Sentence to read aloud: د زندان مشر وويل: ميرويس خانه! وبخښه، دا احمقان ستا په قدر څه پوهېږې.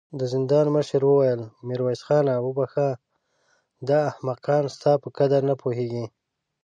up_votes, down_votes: 2, 3